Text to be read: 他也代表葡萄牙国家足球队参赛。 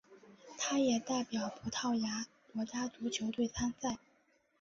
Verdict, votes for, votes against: accepted, 3, 0